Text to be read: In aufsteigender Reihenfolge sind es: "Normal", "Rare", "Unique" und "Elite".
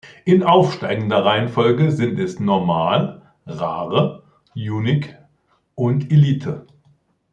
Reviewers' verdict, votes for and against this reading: rejected, 1, 2